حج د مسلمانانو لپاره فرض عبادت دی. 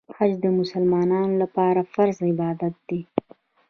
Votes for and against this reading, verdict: 2, 1, accepted